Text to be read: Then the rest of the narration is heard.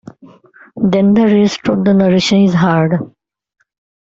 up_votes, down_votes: 2, 0